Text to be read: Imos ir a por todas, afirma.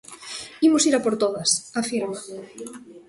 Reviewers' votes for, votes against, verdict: 2, 0, accepted